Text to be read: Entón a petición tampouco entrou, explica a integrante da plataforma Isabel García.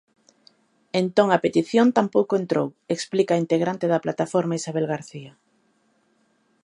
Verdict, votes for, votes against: accepted, 3, 0